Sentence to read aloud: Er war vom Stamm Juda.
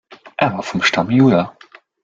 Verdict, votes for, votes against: rejected, 1, 2